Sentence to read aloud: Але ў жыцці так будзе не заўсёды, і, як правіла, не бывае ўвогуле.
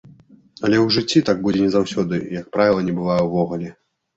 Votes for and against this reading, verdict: 2, 0, accepted